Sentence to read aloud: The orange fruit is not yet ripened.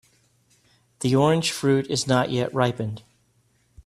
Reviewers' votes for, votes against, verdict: 3, 0, accepted